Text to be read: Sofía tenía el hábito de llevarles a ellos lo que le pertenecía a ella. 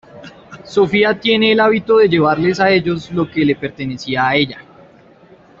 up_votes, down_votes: 0, 2